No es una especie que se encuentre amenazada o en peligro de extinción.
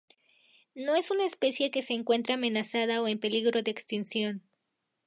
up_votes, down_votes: 2, 2